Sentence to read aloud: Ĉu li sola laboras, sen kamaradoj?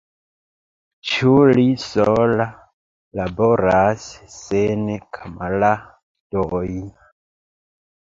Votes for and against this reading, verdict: 0, 2, rejected